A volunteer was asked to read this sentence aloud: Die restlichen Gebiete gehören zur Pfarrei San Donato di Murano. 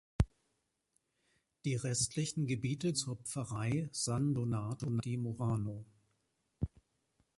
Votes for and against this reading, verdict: 0, 2, rejected